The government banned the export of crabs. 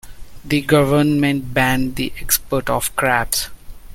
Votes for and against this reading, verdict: 2, 0, accepted